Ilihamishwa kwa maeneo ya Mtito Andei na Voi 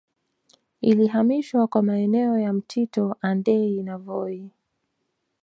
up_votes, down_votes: 1, 2